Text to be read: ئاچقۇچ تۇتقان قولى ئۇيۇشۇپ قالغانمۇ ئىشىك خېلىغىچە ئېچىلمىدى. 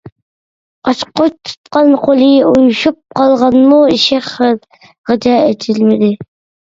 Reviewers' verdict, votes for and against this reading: rejected, 0, 2